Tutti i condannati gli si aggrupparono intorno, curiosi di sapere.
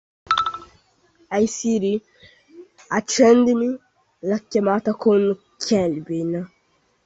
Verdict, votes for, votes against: rejected, 0, 2